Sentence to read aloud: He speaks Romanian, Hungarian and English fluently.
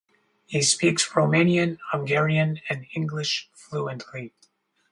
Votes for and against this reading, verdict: 4, 2, accepted